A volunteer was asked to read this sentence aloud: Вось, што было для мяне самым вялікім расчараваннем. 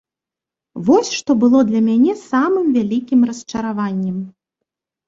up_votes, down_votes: 0, 2